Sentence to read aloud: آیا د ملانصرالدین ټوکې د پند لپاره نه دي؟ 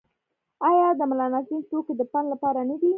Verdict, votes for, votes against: rejected, 1, 2